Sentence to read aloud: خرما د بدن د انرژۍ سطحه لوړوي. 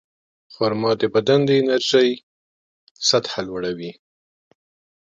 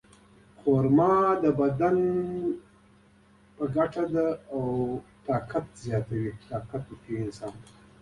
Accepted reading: first